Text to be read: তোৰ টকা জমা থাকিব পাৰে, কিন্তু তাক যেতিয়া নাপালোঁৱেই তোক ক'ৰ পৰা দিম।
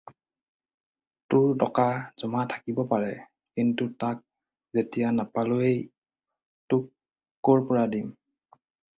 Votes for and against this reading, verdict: 4, 0, accepted